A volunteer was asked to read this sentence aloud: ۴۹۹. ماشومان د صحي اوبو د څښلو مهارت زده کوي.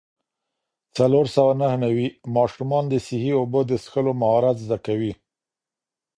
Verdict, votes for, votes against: rejected, 0, 2